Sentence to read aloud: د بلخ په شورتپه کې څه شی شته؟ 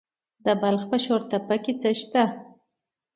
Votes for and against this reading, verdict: 2, 0, accepted